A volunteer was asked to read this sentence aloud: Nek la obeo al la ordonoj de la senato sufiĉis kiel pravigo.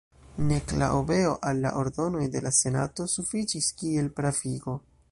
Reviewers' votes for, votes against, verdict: 1, 2, rejected